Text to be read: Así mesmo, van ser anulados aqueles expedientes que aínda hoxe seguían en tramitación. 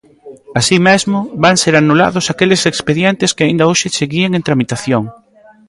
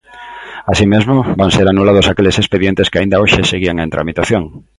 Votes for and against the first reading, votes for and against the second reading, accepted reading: 1, 2, 2, 0, second